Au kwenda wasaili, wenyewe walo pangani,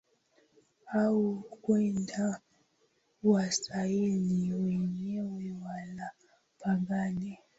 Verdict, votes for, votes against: rejected, 6, 12